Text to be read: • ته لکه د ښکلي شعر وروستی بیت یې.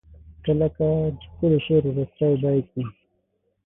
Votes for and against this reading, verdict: 0, 6, rejected